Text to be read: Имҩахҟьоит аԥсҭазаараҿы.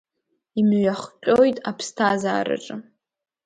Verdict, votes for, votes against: accepted, 2, 0